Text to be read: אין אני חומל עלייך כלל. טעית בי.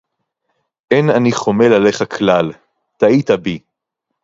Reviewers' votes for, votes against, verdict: 2, 0, accepted